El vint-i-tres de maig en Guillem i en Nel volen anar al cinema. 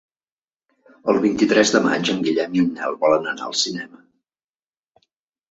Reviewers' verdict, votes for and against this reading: accepted, 3, 0